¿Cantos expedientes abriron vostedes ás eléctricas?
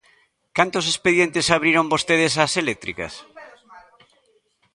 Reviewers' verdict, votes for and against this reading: rejected, 0, 2